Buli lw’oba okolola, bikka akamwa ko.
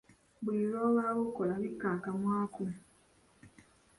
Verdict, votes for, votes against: rejected, 1, 2